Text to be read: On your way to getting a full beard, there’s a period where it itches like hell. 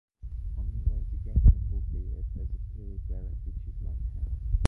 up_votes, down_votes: 0, 2